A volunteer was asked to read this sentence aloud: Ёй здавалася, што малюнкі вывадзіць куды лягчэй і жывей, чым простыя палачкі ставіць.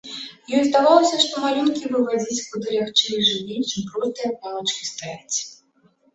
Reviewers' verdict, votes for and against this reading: accepted, 2, 1